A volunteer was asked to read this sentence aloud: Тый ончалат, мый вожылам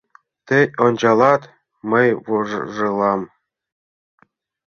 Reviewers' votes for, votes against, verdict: 1, 2, rejected